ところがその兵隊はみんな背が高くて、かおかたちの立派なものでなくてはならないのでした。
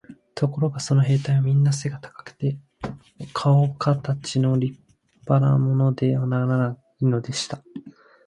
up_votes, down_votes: 0, 6